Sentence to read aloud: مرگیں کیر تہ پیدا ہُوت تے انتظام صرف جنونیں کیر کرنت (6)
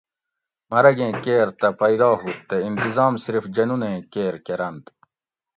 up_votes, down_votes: 0, 2